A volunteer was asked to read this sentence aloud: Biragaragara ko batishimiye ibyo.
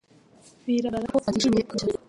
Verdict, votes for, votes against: rejected, 1, 2